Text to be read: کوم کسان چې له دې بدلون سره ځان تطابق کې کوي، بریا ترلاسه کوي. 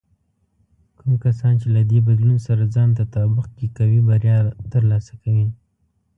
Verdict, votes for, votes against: accepted, 2, 0